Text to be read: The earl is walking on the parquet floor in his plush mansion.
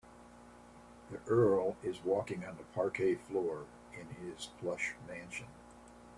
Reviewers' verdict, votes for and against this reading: accepted, 2, 1